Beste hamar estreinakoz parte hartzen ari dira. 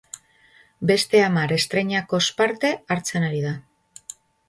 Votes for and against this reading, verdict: 0, 2, rejected